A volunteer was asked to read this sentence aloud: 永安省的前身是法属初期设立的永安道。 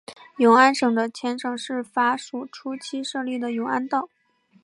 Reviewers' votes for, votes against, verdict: 2, 0, accepted